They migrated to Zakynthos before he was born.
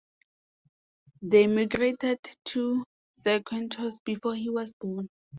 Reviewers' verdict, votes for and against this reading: accepted, 2, 0